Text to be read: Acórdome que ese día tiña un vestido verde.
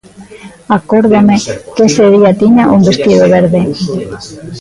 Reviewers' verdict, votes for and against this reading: rejected, 0, 3